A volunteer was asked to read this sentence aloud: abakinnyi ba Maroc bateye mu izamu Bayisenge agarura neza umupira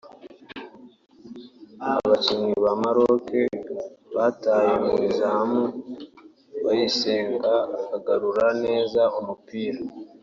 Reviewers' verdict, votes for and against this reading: rejected, 1, 2